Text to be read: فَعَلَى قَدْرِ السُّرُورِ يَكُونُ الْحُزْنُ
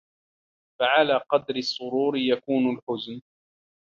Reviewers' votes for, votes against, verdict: 2, 1, accepted